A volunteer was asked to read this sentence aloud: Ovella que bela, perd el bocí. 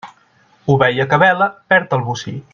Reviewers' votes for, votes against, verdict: 0, 2, rejected